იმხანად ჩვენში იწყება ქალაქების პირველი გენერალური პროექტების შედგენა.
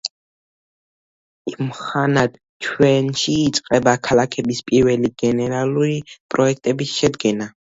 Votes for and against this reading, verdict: 2, 0, accepted